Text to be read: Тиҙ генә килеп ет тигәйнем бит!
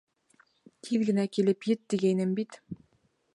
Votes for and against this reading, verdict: 2, 0, accepted